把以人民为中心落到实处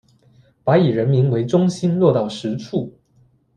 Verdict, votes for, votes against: accepted, 2, 0